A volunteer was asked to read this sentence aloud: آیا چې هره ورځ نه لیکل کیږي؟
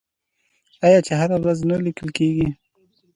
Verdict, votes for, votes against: accepted, 2, 0